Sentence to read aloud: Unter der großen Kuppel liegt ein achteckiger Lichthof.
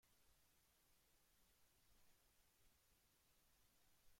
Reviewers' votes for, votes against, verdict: 0, 2, rejected